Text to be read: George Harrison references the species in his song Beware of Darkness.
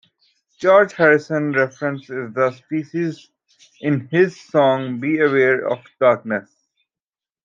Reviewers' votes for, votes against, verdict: 0, 2, rejected